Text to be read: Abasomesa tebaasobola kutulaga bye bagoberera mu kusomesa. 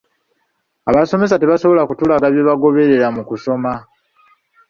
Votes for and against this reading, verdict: 0, 2, rejected